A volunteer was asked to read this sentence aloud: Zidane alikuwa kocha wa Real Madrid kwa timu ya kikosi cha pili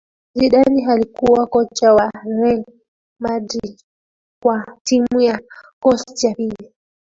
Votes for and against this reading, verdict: 0, 2, rejected